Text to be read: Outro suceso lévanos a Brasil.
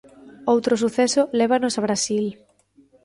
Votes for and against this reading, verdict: 1, 2, rejected